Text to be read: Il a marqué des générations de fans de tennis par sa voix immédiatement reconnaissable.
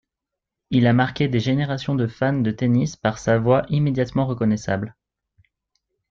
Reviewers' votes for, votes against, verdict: 2, 0, accepted